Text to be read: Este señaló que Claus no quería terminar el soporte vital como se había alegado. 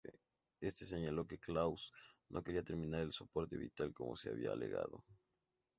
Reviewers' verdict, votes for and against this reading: rejected, 4, 4